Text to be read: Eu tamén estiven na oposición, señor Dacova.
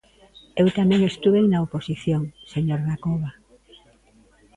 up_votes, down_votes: 0, 2